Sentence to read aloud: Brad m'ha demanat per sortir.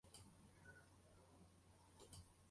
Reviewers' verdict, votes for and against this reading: rejected, 0, 2